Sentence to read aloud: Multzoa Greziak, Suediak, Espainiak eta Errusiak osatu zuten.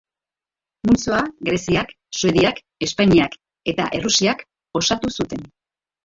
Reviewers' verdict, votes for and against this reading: rejected, 1, 2